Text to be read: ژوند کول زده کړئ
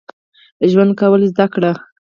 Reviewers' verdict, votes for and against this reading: rejected, 2, 4